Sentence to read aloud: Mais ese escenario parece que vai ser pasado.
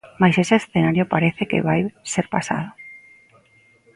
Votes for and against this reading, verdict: 0, 2, rejected